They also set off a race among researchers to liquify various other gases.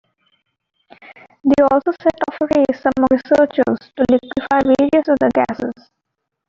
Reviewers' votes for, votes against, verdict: 0, 2, rejected